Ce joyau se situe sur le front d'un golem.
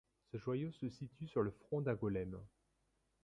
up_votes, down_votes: 1, 2